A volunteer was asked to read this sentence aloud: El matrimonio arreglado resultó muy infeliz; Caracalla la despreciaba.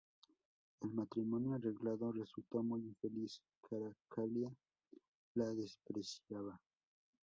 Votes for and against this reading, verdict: 2, 0, accepted